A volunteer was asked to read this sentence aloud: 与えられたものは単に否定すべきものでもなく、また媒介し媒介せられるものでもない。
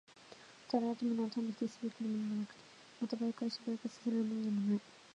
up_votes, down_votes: 1, 2